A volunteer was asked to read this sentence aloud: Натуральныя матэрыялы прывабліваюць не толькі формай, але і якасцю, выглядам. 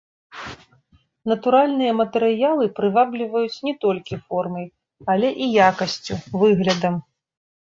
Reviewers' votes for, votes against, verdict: 0, 2, rejected